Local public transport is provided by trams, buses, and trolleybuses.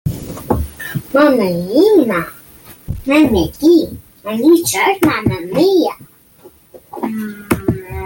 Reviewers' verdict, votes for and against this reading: rejected, 0, 2